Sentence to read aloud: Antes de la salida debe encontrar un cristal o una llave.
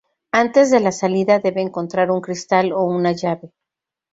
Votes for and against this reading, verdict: 2, 0, accepted